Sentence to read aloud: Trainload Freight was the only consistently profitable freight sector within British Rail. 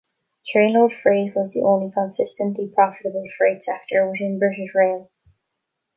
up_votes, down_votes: 3, 0